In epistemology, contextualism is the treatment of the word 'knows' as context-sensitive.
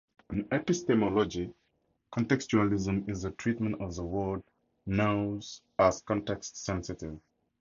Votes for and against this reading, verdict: 2, 0, accepted